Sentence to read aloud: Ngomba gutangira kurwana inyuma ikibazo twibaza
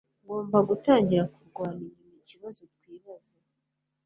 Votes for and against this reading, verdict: 2, 0, accepted